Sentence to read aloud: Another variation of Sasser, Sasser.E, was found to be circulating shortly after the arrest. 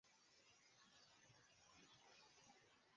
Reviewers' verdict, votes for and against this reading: rejected, 0, 2